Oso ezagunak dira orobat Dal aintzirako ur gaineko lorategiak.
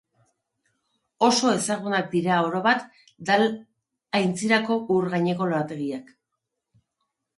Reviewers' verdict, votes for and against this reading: accepted, 4, 0